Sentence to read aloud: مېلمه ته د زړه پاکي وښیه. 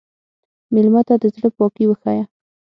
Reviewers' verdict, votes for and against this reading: accepted, 6, 0